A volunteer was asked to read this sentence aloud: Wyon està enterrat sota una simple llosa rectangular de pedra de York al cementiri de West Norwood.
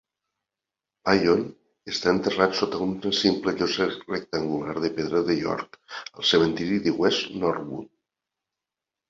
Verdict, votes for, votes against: accepted, 2, 1